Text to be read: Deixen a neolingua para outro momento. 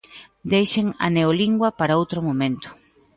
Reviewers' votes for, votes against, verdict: 2, 0, accepted